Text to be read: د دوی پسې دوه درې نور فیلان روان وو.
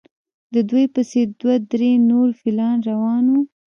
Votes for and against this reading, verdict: 2, 0, accepted